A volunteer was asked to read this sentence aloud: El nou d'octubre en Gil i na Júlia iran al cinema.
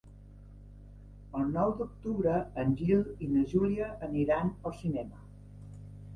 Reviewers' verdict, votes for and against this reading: rejected, 1, 2